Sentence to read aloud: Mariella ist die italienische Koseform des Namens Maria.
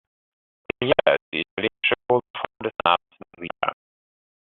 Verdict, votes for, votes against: rejected, 0, 2